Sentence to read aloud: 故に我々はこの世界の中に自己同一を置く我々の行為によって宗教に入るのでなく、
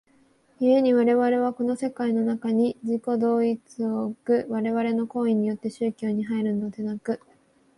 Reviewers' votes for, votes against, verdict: 2, 0, accepted